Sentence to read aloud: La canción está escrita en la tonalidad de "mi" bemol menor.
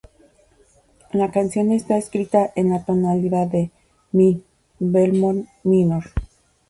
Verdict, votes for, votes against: rejected, 0, 2